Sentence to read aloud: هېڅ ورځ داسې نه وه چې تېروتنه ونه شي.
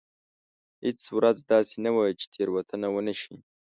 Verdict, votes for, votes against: accepted, 2, 0